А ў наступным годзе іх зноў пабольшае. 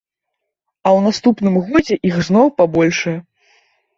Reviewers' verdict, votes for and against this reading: accepted, 2, 0